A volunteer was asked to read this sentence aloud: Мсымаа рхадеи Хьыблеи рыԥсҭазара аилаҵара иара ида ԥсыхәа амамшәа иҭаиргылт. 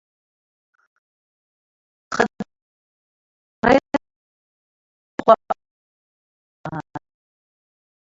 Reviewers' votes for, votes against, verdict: 0, 2, rejected